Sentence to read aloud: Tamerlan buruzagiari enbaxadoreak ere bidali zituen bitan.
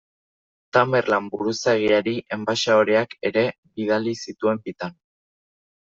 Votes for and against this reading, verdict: 2, 0, accepted